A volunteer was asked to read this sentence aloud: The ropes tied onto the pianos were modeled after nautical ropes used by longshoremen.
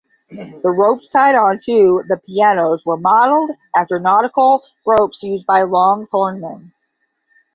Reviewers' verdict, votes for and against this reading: rejected, 0, 10